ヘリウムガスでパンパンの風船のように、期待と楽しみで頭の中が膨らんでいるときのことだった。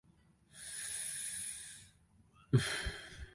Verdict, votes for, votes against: rejected, 0, 2